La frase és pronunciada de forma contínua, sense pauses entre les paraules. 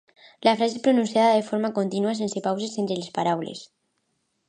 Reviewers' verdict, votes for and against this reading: accepted, 2, 0